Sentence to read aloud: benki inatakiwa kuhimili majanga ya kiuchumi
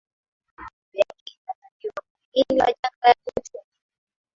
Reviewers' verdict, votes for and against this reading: rejected, 3, 10